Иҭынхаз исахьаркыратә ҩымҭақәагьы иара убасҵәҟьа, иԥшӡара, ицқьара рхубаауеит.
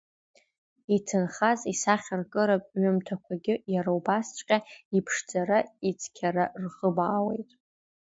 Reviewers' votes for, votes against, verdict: 2, 1, accepted